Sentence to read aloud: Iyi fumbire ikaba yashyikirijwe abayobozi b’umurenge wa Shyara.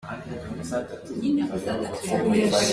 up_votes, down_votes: 0, 2